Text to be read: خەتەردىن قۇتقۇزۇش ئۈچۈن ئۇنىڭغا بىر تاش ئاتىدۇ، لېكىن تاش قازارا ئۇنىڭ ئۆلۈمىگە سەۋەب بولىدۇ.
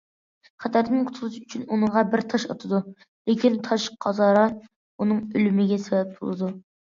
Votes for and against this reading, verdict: 2, 0, accepted